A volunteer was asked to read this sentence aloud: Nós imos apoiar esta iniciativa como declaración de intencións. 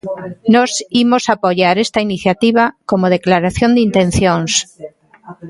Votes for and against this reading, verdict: 0, 2, rejected